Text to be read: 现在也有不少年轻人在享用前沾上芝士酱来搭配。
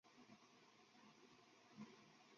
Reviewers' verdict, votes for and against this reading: rejected, 0, 3